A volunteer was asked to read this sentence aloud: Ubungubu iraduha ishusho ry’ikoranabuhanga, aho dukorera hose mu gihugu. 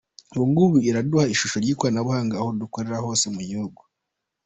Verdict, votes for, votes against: accepted, 2, 0